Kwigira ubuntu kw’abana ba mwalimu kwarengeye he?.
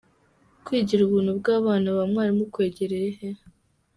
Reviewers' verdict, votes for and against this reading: accepted, 2, 0